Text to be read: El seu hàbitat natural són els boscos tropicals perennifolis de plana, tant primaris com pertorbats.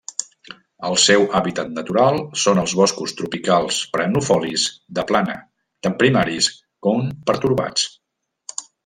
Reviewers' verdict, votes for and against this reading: rejected, 1, 2